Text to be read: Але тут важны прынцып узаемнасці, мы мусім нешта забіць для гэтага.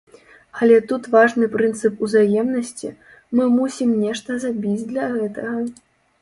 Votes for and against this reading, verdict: 1, 2, rejected